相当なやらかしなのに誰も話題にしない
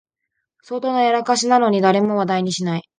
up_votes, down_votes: 6, 0